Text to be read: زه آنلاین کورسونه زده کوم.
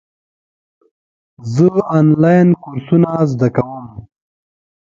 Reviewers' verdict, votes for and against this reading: accepted, 2, 1